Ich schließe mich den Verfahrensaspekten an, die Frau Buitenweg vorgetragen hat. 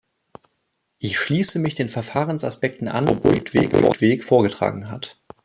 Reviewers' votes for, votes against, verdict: 0, 2, rejected